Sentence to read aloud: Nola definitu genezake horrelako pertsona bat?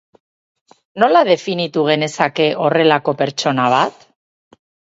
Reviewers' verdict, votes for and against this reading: rejected, 2, 2